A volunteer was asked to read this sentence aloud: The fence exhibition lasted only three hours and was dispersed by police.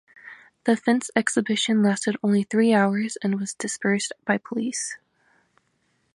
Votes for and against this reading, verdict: 2, 0, accepted